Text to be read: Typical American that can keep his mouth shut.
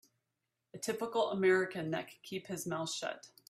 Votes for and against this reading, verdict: 3, 1, accepted